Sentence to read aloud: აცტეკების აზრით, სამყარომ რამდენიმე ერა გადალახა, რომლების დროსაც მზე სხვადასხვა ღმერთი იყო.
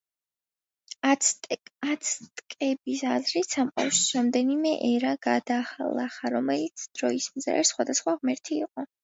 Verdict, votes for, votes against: rejected, 0, 2